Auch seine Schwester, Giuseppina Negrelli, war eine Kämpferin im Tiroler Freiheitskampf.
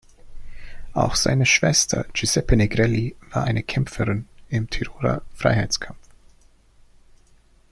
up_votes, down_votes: 0, 2